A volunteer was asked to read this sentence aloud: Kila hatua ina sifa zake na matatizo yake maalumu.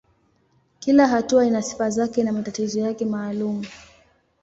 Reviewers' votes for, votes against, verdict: 2, 0, accepted